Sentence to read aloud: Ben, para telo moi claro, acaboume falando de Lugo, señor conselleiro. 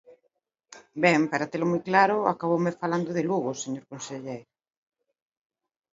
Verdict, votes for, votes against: accepted, 2, 0